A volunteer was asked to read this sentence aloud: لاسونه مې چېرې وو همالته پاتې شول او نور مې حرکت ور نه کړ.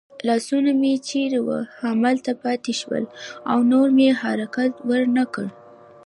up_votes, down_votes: 2, 1